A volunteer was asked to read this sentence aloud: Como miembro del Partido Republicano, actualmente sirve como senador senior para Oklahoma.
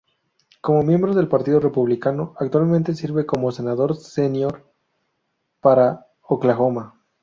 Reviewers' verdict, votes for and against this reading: rejected, 0, 4